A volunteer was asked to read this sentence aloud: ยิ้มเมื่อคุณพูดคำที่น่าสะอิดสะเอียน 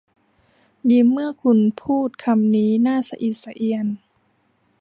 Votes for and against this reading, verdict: 0, 2, rejected